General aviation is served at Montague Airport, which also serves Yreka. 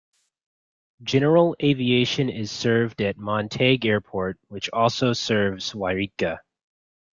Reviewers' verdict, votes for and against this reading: accepted, 2, 0